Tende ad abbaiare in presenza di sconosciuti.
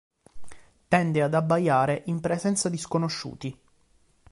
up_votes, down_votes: 2, 0